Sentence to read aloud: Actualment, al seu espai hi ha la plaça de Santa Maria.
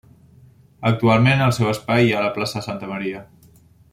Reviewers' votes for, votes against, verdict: 0, 2, rejected